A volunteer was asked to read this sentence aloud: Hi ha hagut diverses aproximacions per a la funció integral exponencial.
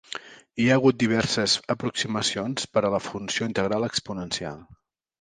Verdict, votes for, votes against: accepted, 3, 0